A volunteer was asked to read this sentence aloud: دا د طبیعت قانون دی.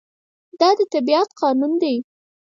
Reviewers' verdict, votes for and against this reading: rejected, 2, 4